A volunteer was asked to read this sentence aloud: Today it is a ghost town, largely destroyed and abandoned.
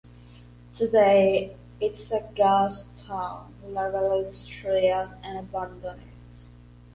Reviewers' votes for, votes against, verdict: 1, 2, rejected